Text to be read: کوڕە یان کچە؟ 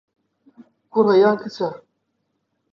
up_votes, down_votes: 2, 0